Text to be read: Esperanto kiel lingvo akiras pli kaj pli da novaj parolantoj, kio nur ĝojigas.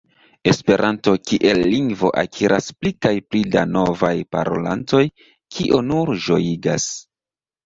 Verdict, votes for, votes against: rejected, 0, 2